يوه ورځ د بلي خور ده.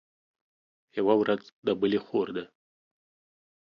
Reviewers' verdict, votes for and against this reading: accepted, 2, 0